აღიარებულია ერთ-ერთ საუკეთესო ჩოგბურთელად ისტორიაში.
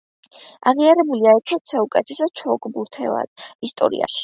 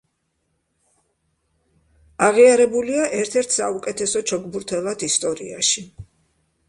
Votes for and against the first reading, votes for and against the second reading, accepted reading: 1, 2, 2, 0, second